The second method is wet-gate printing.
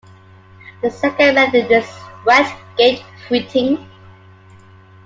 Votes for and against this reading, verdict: 2, 0, accepted